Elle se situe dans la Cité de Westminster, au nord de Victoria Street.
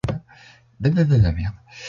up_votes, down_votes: 0, 2